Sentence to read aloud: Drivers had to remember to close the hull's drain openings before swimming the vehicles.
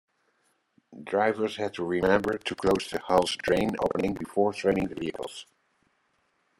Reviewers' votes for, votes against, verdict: 1, 2, rejected